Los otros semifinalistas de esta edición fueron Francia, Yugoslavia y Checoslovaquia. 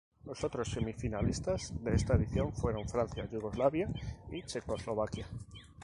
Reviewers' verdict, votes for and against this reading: rejected, 0, 2